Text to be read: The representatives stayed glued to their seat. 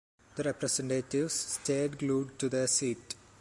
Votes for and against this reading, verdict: 2, 0, accepted